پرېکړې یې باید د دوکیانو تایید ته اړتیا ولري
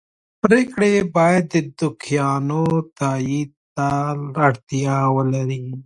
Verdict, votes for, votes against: accepted, 2, 0